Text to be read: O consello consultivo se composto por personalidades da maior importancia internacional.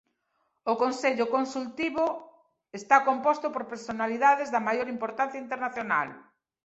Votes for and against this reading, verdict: 0, 2, rejected